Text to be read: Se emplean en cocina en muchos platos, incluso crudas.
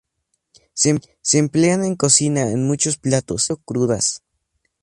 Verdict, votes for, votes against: rejected, 0, 4